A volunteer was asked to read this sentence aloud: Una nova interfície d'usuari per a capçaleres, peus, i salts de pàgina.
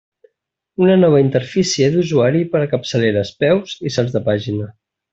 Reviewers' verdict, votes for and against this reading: accepted, 2, 0